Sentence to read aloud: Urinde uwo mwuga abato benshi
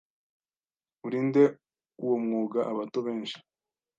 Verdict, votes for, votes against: accepted, 2, 0